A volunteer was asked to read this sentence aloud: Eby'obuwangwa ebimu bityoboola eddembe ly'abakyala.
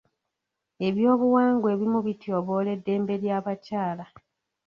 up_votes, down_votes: 2, 0